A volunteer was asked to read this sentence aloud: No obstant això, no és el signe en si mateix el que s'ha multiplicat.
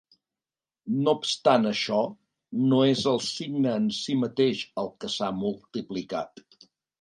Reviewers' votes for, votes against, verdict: 3, 0, accepted